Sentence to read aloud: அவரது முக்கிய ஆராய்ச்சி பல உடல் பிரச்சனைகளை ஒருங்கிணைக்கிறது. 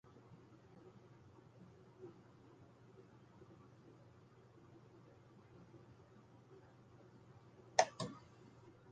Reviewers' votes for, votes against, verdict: 0, 2, rejected